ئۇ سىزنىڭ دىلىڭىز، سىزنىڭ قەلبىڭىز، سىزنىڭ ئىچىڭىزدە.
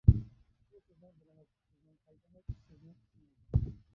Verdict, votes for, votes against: rejected, 0, 2